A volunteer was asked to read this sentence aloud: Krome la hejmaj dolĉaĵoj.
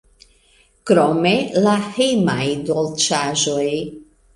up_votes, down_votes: 2, 0